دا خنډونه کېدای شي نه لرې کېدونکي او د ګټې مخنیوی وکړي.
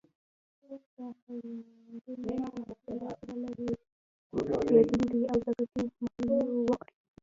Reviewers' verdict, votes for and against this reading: rejected, 1, 2